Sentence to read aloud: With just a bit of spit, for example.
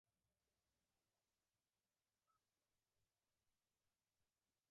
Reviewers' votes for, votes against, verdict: 0, 2, rejected